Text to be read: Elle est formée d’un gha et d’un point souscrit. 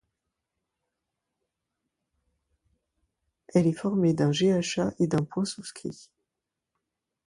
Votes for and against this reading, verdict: 0, 2, rejected